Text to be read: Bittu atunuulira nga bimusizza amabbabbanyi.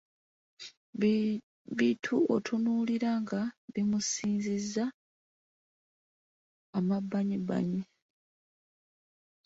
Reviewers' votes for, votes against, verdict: 1, 2, rejected